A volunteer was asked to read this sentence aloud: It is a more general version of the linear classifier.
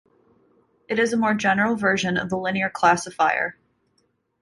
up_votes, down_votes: 2, 0